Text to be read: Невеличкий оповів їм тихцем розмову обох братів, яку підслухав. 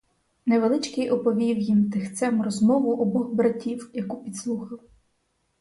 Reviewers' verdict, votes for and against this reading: rejected, 0, 4